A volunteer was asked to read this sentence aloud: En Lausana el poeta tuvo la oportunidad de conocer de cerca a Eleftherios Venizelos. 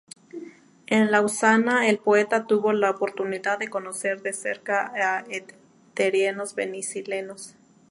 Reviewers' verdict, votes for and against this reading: rejected, 0, 2